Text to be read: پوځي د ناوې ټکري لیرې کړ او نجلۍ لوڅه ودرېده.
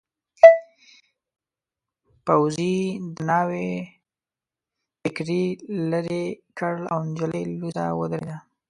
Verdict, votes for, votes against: rejected, 1, 2